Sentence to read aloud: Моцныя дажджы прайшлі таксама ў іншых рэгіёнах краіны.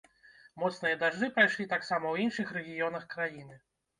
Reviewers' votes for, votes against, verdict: 2, 0, accepted